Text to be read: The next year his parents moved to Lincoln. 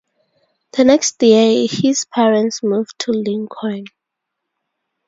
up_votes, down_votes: 0, 4